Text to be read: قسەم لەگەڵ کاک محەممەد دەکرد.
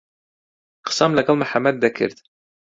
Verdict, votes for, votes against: rejected, 0, 2